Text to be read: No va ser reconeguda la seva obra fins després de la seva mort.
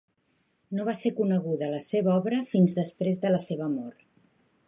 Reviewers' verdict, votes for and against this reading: rejected, 1, 2